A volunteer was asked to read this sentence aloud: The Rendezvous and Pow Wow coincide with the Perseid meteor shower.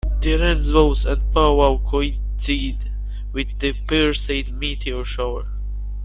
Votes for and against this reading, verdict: 1, 2, rejected